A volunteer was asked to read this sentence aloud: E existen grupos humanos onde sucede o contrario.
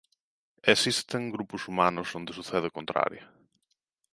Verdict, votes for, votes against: rejected, 1, 2